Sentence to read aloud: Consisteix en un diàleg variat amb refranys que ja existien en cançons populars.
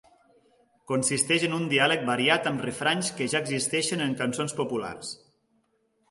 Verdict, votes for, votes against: accepted, 2, 0